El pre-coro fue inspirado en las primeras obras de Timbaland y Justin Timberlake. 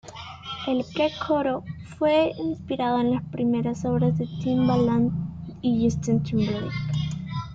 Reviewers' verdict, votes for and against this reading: rejected, 1, 2